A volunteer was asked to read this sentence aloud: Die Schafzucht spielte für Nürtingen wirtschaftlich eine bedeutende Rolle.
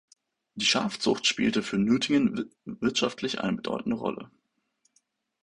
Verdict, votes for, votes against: rejected, 0, 2